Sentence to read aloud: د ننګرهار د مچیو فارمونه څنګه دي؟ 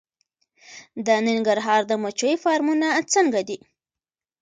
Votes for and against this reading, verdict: 2, 1, accepted